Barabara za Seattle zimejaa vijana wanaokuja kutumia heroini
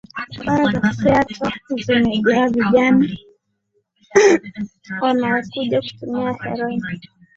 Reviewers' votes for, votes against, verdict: 0, 2, rejected